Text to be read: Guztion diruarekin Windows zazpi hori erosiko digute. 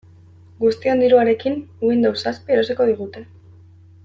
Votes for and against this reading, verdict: 1, 2, rejected